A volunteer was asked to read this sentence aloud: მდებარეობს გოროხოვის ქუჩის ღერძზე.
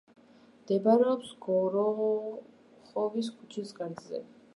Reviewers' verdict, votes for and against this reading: rejected, 1, 2